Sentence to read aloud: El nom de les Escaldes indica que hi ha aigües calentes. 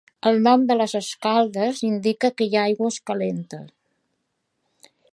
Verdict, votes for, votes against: accepted, 2, 0